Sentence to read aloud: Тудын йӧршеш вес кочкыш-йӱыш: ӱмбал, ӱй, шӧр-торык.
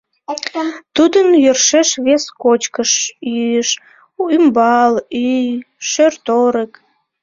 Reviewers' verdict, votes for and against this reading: rejected, 0, 2